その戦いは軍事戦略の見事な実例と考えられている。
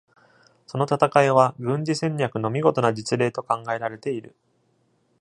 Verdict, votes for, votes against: accepted, 2, 0